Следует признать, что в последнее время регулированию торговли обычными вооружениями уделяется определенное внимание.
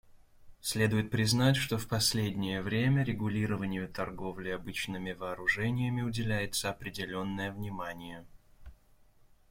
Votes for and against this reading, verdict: 2, 0, accepted